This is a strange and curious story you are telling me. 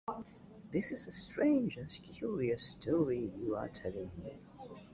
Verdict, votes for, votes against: rejected, 0, 2